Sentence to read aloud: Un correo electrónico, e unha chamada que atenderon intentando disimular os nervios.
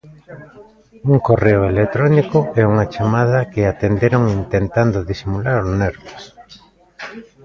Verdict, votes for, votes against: rejected, 1, 2